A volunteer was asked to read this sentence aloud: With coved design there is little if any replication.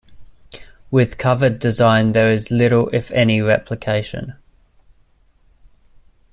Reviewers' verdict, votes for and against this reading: rejected, 0, 2